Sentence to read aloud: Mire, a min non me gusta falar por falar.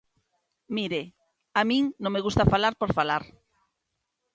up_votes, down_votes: 2, 0